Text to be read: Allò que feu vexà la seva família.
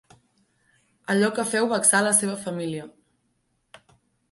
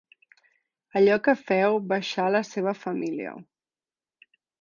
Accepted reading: first